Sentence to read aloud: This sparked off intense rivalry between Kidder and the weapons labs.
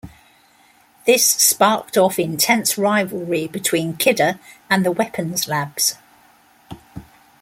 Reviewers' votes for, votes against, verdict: 2, 0, accepted